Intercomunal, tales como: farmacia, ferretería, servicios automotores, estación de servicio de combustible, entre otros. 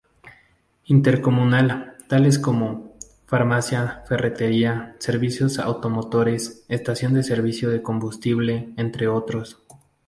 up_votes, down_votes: 2, 0